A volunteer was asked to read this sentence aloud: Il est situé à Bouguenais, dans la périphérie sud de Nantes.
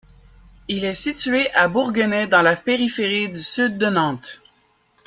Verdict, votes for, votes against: rejected, 0, 2